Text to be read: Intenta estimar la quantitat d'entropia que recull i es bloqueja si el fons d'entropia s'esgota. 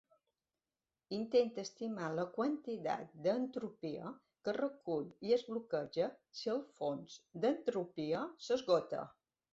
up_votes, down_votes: 1, 2